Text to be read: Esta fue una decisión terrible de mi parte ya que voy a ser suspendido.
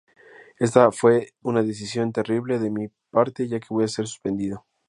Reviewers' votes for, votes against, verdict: 2, 2, rejected